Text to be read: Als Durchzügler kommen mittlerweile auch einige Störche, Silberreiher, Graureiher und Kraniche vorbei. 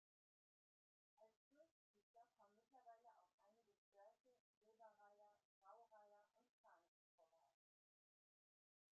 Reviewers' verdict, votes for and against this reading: rejected, 0, 2